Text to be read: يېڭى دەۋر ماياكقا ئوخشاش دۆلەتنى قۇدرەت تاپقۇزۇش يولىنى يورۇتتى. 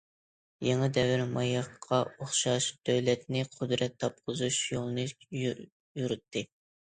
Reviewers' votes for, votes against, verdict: 1, 2, rejected